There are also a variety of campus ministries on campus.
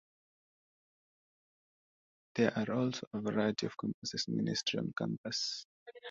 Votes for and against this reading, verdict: 0, 2, rejected